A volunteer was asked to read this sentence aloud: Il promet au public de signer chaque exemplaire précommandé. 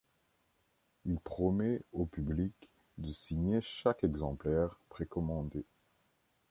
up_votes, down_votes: 2, 0